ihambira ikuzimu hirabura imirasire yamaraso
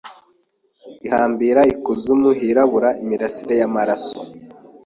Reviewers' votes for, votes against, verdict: 2, 0, accepted